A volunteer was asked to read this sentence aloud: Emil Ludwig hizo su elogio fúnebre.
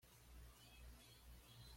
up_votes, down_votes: 1, 2